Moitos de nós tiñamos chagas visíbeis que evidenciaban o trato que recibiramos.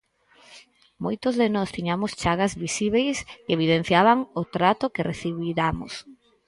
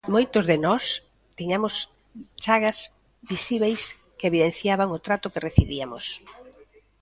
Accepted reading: first